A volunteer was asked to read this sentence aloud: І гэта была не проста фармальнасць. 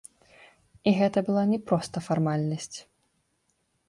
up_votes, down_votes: 1, 2